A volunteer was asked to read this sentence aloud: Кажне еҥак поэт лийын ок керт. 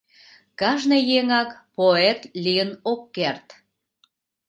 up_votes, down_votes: 3, 0